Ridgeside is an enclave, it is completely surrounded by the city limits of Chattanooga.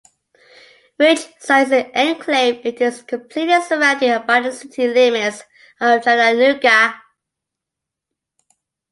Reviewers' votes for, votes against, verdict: 0, 2, rejected